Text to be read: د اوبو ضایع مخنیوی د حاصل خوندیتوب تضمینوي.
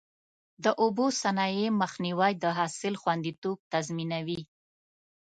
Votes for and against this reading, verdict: 0, 2, rejected